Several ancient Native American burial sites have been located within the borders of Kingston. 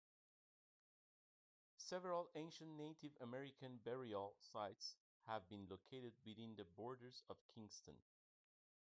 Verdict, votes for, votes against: accepted, 2, 1